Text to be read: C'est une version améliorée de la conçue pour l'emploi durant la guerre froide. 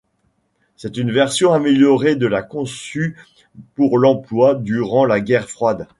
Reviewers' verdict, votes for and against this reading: accepted, 2, 0